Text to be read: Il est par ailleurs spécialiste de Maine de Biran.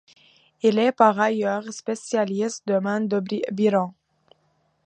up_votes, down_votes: 0, 2